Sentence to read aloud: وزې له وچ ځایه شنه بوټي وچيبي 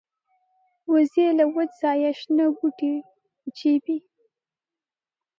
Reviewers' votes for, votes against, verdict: 2, 0, accepted